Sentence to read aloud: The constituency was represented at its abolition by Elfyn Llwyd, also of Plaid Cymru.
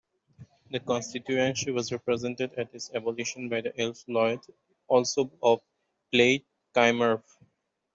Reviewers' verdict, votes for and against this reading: rejected, 1, 2